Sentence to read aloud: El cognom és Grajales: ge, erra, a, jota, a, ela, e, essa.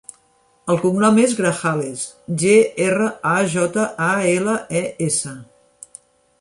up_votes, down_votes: 2, 0